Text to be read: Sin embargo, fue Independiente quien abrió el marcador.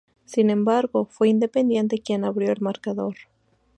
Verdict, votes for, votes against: accepted, 2, 0